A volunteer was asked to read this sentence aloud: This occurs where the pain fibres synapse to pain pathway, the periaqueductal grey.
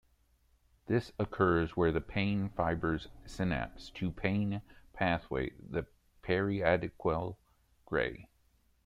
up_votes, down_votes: 0, 2